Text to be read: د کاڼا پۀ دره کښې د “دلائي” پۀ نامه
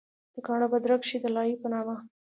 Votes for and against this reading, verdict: 3, 0, accepted